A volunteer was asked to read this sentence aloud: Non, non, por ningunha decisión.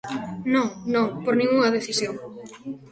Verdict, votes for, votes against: rejected, 0, 2